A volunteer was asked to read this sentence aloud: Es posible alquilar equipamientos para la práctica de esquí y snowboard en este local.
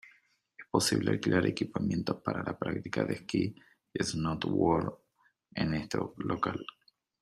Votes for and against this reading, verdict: 1, 2, rejected